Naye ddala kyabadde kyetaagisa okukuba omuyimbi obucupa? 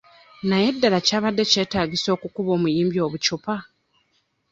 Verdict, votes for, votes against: rejected, 0, 2